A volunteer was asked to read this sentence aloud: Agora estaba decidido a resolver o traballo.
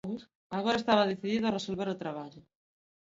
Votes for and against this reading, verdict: 2, 0, accepted